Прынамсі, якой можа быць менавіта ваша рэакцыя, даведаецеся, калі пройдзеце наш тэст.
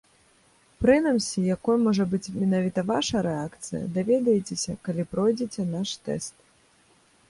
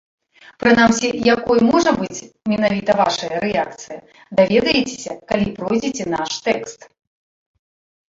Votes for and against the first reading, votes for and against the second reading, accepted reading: 2, 1, 0, 2, first